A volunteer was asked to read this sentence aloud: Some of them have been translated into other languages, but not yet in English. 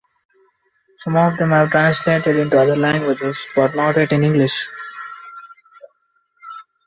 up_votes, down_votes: 0, 2